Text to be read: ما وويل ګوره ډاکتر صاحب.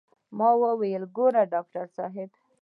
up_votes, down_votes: 2, 1